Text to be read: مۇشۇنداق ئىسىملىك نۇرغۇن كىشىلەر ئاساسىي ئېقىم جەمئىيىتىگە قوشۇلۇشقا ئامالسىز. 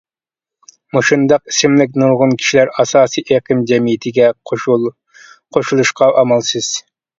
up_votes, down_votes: 1, 2